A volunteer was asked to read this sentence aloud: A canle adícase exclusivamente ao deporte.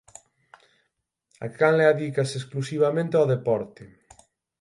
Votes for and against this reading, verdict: 6, 0, accepted